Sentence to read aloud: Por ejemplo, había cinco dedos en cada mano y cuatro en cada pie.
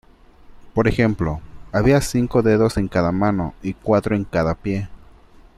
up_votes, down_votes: 2, 0